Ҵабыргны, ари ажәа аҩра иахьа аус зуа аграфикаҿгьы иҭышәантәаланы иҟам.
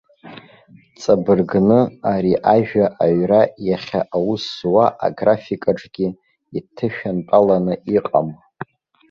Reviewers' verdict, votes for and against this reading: accepted, 2, 0